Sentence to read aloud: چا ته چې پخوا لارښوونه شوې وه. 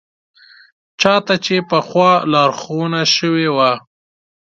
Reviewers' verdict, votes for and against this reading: accepted, 2, 0